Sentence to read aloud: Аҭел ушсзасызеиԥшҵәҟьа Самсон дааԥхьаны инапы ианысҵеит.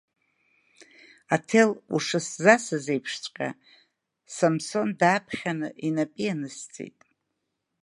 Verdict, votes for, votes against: accepted, 2, 0